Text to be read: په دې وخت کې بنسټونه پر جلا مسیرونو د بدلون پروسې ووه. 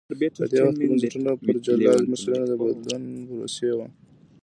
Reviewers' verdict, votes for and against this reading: rejected, 1, 2